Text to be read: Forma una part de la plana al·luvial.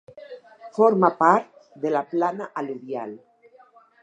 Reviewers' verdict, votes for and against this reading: rejected, 2, 4